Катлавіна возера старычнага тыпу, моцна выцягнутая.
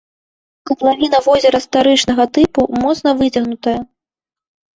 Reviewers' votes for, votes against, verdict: 0, 2, rejected